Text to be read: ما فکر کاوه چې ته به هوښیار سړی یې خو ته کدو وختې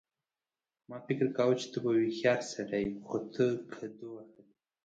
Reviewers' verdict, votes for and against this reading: rejected, 1, 2